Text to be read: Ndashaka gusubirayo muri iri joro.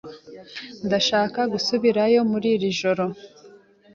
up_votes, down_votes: 2, 0